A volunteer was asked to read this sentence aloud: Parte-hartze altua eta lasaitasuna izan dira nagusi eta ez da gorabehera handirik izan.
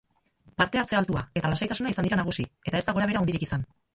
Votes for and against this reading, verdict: 2, 0, accepted